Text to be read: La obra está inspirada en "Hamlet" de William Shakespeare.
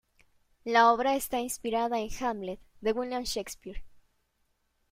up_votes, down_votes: 2, 0